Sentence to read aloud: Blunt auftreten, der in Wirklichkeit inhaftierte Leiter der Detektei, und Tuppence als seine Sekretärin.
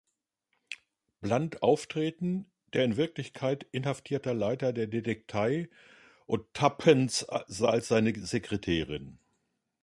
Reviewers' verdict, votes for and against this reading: rejected, 0, 2